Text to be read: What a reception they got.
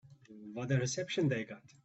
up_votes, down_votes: 2, 1